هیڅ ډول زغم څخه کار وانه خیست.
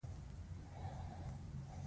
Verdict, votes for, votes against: rejected, 0, 2